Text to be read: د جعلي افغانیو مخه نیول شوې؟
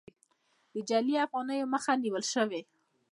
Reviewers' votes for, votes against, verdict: 1, 2, rejected